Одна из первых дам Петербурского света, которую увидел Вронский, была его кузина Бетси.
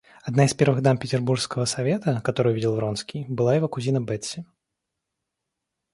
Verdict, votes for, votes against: rejected, 1, 2